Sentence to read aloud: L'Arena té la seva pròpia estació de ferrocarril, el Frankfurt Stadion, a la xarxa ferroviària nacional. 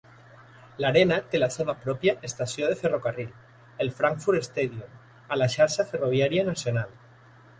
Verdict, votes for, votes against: accepted, 2, 0